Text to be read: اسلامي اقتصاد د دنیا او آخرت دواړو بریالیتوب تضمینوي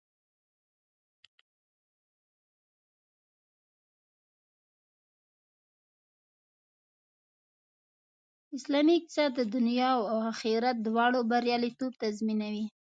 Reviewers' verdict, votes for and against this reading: rejected, 1, 2